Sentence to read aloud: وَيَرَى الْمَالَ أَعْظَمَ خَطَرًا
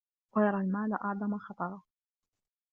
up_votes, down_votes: 1, 2